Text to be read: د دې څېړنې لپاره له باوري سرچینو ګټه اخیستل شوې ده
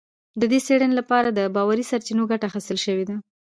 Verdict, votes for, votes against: accepted, 2, 0